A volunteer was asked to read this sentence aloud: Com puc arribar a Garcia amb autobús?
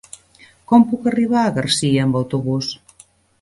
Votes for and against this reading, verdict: 3, 0, accepted